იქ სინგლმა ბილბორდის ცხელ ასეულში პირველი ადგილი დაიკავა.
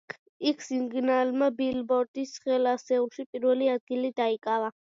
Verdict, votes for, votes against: rejected, 1, 2